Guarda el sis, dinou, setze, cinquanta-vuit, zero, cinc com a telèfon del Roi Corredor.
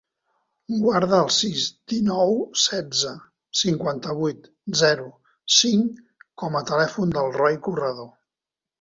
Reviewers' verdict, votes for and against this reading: accepted, 4, 0